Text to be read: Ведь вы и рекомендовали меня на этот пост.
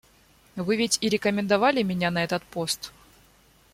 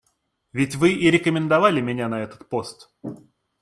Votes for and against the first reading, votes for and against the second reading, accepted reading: 0, 2, 2, 0, second